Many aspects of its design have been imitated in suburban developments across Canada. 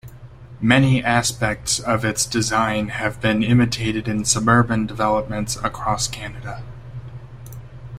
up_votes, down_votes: 2, 0